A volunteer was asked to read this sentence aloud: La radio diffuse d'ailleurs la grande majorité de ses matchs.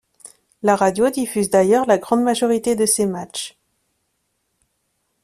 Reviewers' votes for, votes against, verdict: 2, 0, accepted